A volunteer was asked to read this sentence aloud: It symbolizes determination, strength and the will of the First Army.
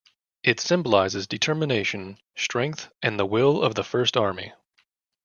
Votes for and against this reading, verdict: 2, 0, accepted